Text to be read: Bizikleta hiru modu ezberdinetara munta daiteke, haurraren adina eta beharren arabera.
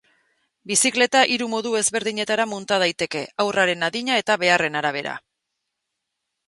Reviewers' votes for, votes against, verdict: 2, 0, accepted